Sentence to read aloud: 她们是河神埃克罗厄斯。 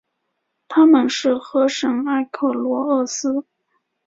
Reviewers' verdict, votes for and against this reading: accepted, 2, 0